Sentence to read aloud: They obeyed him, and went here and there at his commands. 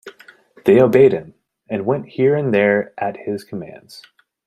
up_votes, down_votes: 2, 0